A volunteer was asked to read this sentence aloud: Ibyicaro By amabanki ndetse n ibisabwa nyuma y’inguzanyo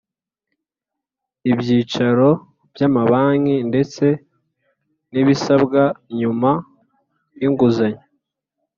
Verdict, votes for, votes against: accepted, 4, 0